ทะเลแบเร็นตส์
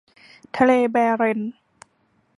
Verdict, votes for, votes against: accepted, 2, 0